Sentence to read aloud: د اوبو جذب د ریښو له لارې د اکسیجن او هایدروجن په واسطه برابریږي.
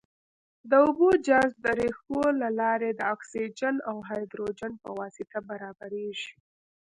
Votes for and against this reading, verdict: 1, 2, rejected